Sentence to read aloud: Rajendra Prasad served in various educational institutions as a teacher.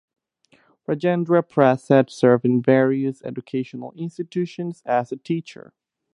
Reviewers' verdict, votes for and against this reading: accepted, 2, 0